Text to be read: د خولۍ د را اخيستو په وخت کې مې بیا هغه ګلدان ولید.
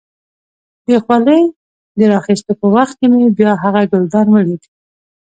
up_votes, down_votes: 2, 0